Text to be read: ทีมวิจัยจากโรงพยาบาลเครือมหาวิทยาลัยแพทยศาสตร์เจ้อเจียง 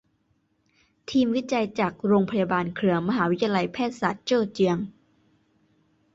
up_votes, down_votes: 2, 0